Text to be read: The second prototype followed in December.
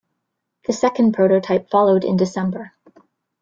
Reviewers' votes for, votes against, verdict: 2, 1, accepted